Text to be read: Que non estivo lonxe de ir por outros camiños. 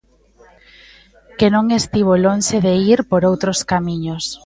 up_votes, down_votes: 2, 0